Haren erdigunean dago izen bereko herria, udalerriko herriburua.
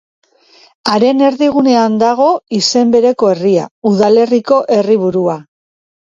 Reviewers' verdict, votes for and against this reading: accepted, 3, 0